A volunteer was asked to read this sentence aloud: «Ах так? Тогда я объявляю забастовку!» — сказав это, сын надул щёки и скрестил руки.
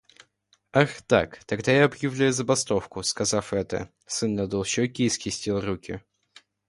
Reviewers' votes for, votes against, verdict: 2, 0, accepted